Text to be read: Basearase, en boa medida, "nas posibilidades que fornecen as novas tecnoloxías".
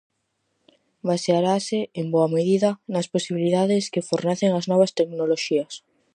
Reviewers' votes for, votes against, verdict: 4, 0, accepted